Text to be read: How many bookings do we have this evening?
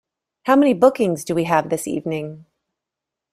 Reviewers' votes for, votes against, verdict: 2, 0, accepted